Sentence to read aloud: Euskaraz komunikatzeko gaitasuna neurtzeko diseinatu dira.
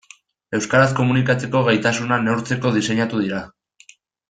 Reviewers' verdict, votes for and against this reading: accepted, 2, 0